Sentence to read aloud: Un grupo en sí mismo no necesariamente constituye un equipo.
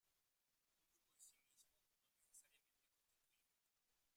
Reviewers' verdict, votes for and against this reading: rejected, 0, 2